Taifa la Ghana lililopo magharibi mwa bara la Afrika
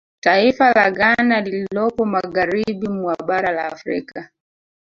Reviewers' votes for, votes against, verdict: 0, 2, rejected